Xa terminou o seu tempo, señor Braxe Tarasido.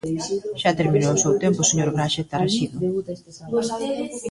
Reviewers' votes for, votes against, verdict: 1, 2, rejected